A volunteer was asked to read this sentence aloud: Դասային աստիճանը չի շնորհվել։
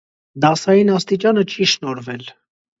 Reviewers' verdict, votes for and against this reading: accepted, 2, 0